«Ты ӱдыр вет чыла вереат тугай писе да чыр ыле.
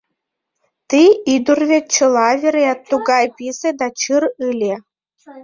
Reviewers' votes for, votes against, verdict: 1, 2, rejected